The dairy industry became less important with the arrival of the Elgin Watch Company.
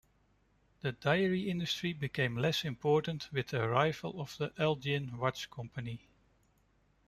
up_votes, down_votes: 0, 2